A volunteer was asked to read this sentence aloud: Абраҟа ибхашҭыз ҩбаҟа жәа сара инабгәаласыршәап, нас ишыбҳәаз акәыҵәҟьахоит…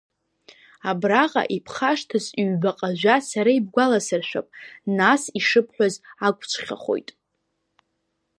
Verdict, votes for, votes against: rejected, 0, 2